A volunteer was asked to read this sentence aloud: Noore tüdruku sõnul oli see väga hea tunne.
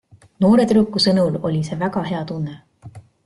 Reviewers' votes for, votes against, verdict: 2, 0, accepted